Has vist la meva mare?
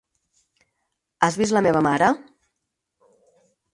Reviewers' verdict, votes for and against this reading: accepted, 6, 0